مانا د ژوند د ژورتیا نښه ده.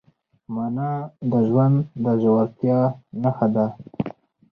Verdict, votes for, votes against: accepted, 4, 2